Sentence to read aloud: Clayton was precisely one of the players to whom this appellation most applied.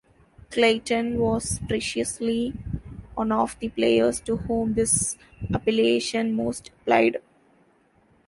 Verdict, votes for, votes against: rejected, 0, 2